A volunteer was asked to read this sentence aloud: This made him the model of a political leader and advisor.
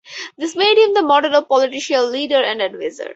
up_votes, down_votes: 4, 2